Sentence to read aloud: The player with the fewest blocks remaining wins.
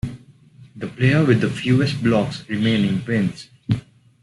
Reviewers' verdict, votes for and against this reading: accepted, 2, 0